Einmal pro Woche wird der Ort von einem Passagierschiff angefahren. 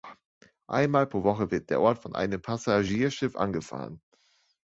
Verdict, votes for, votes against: rejected, 1, 2